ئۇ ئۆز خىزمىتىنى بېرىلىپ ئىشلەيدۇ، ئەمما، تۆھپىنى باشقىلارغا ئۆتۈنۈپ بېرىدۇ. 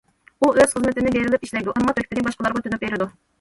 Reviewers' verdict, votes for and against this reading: rejected, 1, 2